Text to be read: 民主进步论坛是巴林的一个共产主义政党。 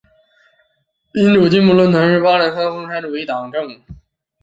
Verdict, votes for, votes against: rejected, 0, 2